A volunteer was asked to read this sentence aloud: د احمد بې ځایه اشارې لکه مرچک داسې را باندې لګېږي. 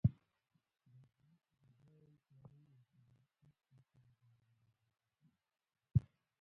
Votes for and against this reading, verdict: 0, 2, rejected